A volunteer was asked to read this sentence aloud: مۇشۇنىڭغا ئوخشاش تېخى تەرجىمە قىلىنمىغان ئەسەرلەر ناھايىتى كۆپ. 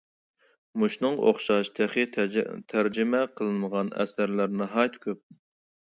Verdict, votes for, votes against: rejected, 0, 2